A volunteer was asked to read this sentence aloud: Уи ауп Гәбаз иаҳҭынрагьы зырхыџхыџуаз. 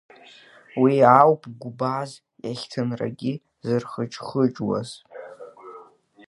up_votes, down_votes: 1, 2